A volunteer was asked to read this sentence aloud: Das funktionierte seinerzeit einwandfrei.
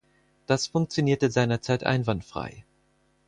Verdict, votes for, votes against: accepted, 4, 0